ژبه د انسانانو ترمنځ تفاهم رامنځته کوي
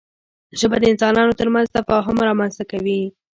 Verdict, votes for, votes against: accepted, 2, 1